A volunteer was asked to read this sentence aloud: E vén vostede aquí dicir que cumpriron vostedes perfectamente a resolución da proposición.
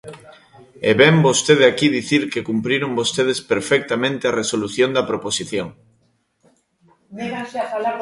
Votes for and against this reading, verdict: 0, 2, rejected